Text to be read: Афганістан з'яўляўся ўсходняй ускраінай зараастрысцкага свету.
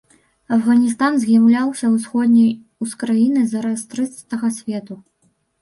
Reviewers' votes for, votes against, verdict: 0, 2, rejected